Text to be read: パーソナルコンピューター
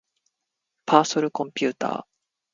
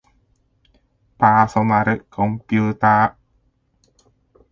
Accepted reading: second